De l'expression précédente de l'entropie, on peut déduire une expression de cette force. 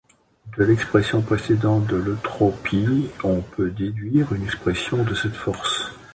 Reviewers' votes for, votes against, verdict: 1, 2, rejected